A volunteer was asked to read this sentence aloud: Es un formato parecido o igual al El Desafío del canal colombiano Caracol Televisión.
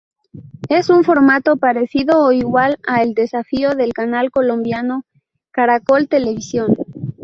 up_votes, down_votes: 2, 0